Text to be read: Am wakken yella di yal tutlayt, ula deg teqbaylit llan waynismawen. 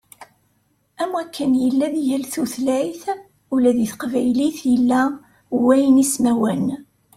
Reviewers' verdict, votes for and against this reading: rejected, 1, 2